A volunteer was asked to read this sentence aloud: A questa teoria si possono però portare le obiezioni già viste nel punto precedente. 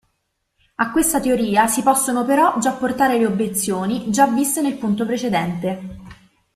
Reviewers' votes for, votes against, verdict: 1, 2, rejected